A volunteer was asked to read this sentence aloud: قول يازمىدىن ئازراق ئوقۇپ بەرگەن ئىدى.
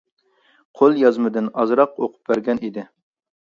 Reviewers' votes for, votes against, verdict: 2, 0, accepted